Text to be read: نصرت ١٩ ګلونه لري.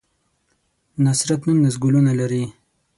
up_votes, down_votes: 0, 2